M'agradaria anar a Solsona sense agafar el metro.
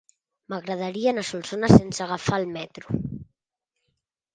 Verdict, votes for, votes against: accepted, 3, 0